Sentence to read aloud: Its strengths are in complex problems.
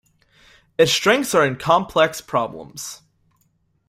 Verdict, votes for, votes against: accepted, 2, 0